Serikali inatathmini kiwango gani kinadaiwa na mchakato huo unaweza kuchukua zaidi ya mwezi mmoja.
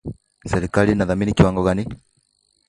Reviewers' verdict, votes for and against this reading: rejected, 1, 2